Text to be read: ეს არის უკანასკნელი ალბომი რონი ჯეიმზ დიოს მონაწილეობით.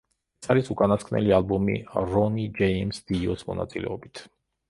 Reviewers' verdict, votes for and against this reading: rejected, 0, 2